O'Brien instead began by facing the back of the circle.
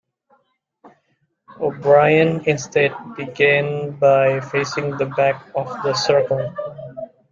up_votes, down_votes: 2, 1